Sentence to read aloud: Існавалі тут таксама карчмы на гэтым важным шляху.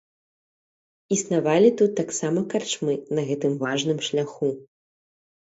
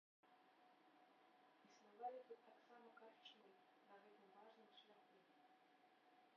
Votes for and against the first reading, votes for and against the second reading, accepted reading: 3, 0, 0, 2, first